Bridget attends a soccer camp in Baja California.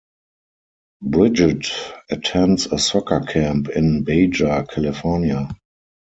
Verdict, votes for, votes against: rejected, 0, 4